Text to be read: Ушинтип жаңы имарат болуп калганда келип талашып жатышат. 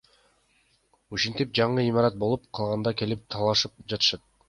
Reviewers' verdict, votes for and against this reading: rejected, 1, 2